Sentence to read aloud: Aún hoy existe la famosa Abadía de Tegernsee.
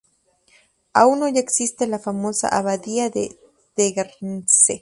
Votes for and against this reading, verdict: 2, 0, accepted